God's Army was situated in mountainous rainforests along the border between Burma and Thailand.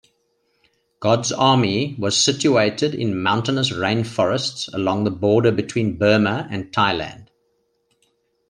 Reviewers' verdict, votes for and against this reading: accepted, 2, 0